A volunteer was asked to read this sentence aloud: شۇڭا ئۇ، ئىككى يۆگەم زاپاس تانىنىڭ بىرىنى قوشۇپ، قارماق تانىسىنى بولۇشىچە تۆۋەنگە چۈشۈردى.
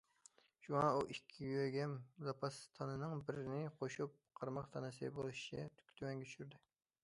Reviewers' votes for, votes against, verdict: 2, 1, accepted